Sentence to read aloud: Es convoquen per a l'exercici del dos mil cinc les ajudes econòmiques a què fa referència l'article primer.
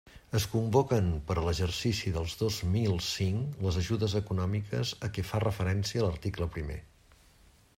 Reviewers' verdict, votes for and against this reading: rejected, 0, 2